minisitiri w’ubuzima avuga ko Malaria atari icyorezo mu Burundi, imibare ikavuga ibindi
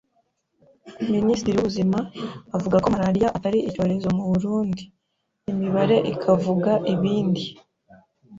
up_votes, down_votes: 2, 0